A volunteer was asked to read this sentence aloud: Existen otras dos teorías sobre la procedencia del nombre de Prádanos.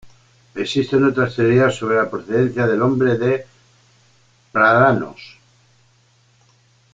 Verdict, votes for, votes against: rejected, 0, 2